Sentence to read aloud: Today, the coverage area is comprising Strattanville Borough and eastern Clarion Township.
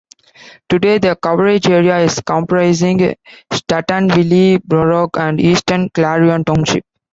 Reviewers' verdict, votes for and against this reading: rejected, 0, 2